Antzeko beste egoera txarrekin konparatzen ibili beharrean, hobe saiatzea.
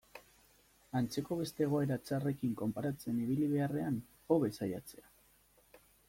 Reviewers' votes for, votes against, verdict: 2, 0, accepted